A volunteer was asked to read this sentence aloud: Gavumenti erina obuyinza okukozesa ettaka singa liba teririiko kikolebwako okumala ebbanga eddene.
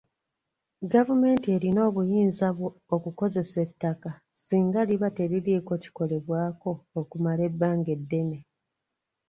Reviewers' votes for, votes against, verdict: 2, 1, accepted